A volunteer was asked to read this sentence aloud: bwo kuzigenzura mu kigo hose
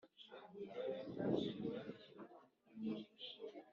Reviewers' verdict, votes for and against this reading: rejected, 1, 2